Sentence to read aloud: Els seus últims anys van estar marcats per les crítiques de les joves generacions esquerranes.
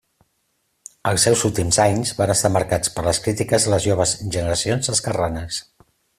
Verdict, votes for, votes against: accepted, 3, 0